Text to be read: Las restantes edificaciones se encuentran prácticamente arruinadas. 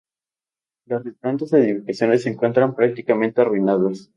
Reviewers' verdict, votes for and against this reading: accepted, 4, 2